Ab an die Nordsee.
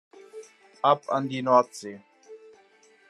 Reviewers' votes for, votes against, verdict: 2, 0, accepted